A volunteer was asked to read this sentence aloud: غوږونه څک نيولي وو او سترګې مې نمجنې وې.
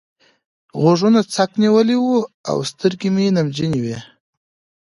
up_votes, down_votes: 2, 0